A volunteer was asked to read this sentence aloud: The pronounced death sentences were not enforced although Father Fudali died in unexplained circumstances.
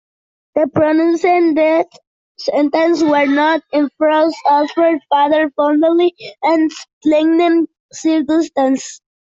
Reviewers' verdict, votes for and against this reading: rejected, 0, 2